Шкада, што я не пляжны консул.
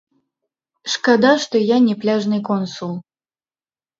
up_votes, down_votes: 1, 2